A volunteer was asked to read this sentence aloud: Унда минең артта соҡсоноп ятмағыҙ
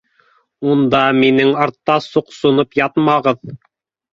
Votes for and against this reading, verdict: 2, 0, accepted